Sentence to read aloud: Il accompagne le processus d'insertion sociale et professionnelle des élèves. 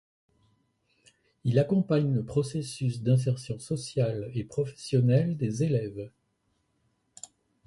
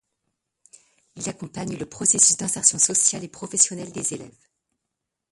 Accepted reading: first